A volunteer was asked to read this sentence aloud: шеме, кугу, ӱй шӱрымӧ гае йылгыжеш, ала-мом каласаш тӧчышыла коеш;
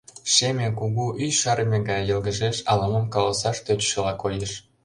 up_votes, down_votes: 0, 2